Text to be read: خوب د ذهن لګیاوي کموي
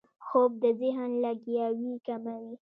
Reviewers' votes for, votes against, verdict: 2, 1, accepted